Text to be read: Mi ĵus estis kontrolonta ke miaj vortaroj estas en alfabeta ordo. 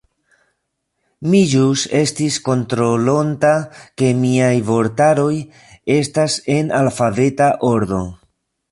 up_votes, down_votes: 2, 0